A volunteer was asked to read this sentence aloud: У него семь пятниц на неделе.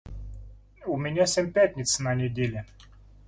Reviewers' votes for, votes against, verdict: 0, 2, rejected